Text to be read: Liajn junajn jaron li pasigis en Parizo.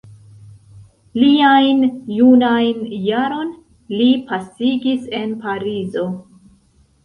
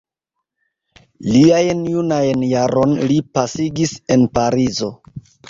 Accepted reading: second